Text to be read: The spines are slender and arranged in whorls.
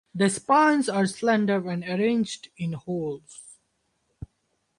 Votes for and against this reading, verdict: 0, 4, rejected